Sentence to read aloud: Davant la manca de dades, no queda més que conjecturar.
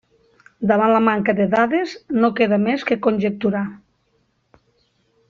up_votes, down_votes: 3, 0